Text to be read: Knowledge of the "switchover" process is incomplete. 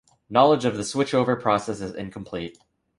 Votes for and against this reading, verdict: 2, 0, accepted